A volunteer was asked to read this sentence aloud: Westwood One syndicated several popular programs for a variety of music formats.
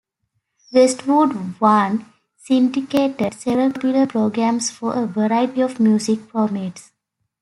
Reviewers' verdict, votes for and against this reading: rejected, 0, 2